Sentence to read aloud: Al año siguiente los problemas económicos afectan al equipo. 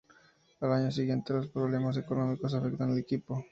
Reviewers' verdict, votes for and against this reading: accepted, 2, 0